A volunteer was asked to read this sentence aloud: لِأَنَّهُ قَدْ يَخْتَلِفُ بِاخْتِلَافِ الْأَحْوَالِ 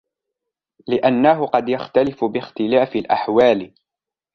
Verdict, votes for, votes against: accepted, 2, 0